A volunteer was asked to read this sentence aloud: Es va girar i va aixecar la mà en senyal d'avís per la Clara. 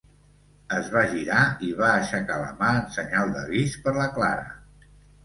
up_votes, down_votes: 2, 0